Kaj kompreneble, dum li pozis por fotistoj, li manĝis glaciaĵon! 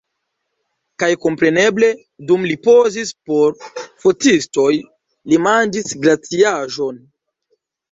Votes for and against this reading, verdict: 2, 1, accepted